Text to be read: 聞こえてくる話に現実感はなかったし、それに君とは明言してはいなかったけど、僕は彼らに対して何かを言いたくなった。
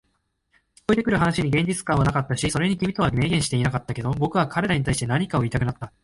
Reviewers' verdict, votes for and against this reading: accepted, 2, 0